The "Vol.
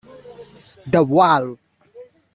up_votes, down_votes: 1, 2